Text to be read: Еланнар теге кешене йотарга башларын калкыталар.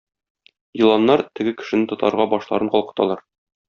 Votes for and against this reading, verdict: 1, 2, rejected